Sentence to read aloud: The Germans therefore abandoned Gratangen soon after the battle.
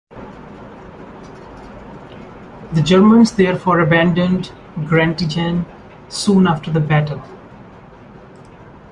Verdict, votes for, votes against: rejected, 0, 2